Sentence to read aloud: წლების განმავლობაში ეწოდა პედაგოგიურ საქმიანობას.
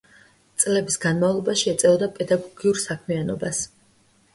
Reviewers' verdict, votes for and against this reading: rejected, 1, 2